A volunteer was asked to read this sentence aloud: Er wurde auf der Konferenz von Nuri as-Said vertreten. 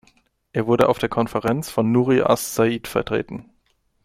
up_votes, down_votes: 2, 0